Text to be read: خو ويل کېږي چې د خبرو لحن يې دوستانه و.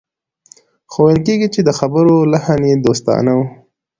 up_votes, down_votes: 2, 0